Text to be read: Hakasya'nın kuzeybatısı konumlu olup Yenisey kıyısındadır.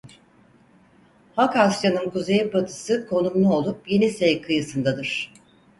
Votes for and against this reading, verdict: 4, 0, accepted